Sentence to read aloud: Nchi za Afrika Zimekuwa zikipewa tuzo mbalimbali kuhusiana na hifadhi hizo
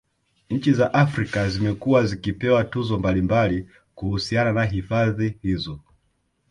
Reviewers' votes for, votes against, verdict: 0, 2, rejected